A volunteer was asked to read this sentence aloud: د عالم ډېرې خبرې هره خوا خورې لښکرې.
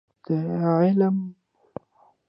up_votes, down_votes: 0, 2